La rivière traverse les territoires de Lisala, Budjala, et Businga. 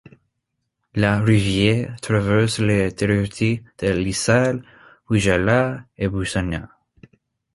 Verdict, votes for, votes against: rejected, 0, 2